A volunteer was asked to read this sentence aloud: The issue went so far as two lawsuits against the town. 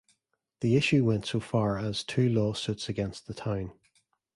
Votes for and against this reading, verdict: 2, 1, accepted